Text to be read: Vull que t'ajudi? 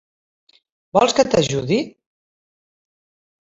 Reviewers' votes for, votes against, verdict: 0, 2, rejected